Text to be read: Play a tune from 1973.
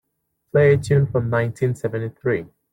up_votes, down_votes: 0, 2